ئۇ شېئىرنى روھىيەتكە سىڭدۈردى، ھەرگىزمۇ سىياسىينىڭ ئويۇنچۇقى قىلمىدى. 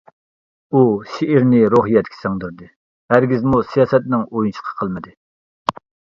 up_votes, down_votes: 0, 2